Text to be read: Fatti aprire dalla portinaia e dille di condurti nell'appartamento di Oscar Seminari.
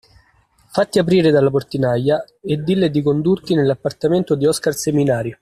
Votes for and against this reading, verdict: 2, 0, accepted